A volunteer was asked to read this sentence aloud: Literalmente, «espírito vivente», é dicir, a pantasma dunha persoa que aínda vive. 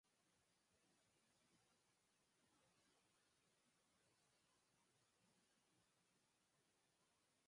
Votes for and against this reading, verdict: 0, 4, rejected